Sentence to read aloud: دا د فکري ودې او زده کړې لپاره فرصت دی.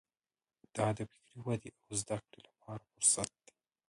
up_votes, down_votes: 1, 3